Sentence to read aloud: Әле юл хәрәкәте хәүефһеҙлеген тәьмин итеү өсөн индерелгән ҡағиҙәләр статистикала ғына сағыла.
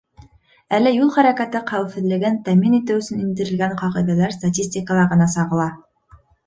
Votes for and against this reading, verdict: 2, 0, accepted